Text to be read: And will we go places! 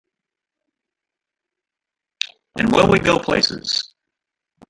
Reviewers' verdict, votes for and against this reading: rejected, 0, 2